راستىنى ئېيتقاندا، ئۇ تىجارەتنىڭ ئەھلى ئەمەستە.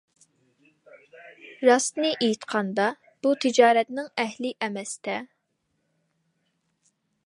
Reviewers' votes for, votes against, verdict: 2, 0, accepted